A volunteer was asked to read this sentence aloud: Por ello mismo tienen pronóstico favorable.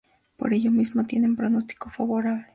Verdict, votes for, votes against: accepted, 2, 0